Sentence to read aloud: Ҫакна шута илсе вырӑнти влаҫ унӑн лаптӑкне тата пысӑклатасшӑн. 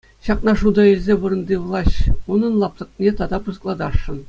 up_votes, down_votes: 2, 0